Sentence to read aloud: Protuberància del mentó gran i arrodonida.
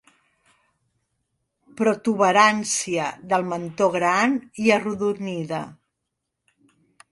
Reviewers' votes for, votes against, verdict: 2, 0, accepted